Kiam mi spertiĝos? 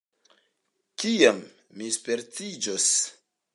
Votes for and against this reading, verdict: 2, 0, accepted